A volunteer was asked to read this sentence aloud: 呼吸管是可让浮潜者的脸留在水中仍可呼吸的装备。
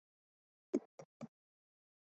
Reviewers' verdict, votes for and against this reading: rejected, 0, 2